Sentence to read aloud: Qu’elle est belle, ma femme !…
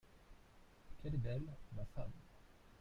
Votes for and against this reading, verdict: 0, 2, rejected